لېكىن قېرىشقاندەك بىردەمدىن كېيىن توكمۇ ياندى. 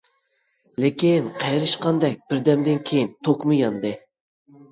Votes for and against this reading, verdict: 2, 0, accepted